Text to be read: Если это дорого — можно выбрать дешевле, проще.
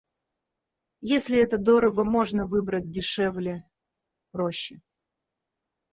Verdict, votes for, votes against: rejected, 0, 4